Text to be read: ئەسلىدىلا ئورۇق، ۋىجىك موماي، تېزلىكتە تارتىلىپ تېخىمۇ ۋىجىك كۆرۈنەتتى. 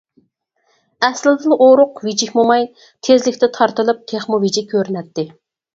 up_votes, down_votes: 4, 0